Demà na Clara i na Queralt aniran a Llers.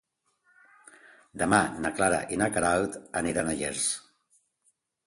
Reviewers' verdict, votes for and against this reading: accepted, 2, 0